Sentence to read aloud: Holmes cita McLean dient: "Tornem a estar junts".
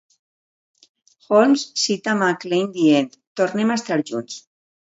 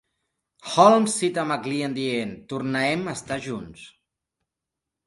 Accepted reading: first